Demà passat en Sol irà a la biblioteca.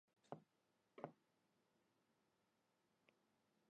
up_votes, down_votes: 1, 3